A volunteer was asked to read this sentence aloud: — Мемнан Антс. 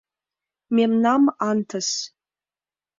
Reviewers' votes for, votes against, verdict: 0, 2, rejected